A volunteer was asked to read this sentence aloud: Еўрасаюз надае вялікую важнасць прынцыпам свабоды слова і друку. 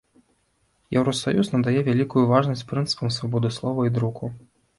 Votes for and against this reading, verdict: 2, 0, accepted